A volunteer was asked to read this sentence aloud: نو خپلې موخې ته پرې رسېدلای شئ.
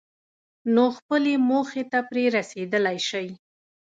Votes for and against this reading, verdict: 2, 0, accepted